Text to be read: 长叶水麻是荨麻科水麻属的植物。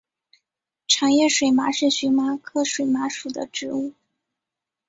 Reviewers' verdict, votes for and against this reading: accepted, 3, 2